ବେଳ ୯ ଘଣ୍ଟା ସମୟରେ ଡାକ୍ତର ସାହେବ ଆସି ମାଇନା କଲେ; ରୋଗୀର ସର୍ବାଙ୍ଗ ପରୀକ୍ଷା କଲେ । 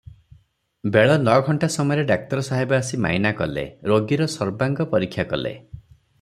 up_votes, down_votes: 0, 2